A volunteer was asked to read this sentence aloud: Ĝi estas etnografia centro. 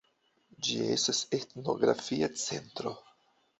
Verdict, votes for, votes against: rejected, 0, 2